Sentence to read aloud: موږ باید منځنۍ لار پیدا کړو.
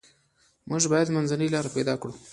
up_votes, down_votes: 2, 0